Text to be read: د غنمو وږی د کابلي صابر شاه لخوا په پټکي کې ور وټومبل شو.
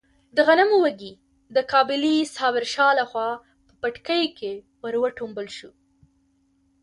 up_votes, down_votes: 3, 0